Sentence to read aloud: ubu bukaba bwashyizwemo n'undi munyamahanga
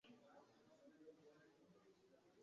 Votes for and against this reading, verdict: 1, 2, rejected